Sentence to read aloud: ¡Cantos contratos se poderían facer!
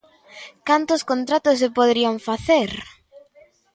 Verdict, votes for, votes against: accepted, 2, 0